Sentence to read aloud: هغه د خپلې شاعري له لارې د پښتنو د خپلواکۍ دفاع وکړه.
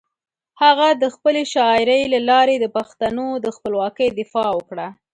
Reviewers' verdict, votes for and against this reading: accepted, 4, 0